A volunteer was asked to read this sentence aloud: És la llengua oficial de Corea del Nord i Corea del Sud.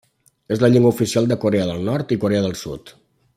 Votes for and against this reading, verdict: 3, 0, accepted